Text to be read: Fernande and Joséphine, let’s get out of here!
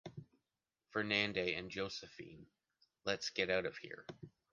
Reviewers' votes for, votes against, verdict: 2, 0, accepted